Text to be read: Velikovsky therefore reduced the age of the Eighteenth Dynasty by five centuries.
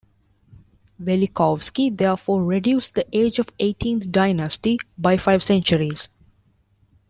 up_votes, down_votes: 1, 2